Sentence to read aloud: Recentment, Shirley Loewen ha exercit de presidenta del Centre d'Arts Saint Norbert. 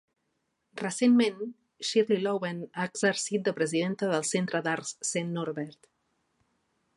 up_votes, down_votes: 2, 0